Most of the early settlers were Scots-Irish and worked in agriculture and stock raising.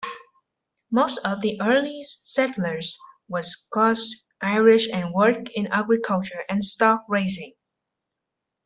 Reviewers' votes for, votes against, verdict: 0, 2, rejected